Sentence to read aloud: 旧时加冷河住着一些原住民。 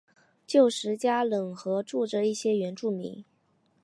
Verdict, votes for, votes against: accepted, 2, 0